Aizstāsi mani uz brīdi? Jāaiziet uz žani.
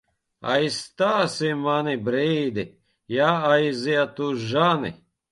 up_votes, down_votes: 0, 2